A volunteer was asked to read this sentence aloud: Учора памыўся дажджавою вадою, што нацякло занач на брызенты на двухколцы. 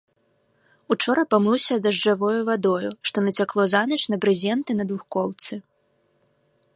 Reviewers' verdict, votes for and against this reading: accepted, 2, 0